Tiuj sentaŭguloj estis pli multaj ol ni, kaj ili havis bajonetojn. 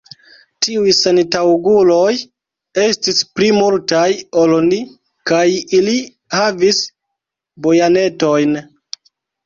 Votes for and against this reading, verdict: 2, 0, accepted